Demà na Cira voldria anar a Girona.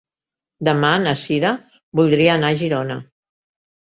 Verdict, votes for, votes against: accepted, 2, 0